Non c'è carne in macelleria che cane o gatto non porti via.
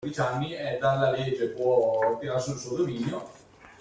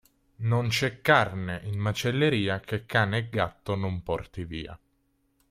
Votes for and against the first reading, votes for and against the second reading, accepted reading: 0, 2, 2, 0, second